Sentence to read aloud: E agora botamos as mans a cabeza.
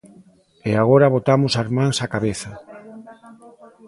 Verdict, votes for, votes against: rejected, 0, 2